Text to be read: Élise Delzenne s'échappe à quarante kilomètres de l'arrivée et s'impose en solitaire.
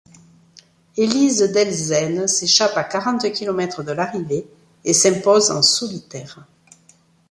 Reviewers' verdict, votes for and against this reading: accepted, 2, 0